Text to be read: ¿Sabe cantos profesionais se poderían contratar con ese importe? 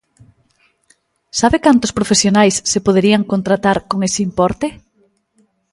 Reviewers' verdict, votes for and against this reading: accepted, 2, 0